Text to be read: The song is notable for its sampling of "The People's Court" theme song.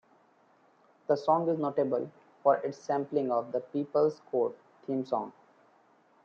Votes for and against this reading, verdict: 2, 0, accepted